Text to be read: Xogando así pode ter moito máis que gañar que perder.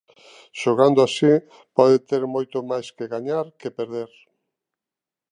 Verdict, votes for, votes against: accepted, 2, 0